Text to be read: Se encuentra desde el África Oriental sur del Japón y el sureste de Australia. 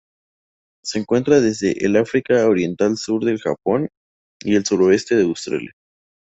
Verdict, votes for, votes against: rejected, 0, 2